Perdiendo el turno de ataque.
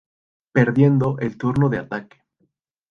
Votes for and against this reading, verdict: 2, 0, accepted